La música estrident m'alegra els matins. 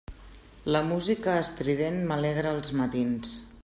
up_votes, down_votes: 3, 0